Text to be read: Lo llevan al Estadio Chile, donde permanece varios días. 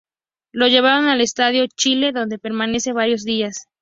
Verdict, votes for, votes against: accepted, 2, 0